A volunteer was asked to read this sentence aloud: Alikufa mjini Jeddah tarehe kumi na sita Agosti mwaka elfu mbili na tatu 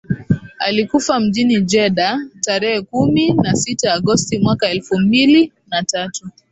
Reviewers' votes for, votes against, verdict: 2, 0, accepted